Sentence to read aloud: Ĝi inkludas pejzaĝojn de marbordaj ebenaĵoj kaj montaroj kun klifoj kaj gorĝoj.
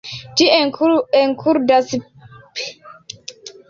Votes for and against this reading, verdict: 1, 2, rejected